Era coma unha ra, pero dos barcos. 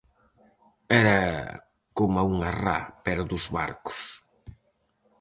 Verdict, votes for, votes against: rejected, 2, 2